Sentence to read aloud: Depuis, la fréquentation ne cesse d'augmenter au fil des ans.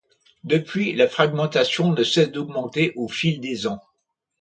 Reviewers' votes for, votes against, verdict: 0, 2, rejected